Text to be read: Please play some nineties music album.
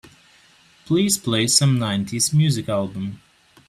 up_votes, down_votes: 3, 0